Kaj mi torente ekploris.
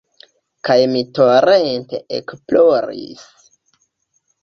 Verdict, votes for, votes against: accepted, 2, 1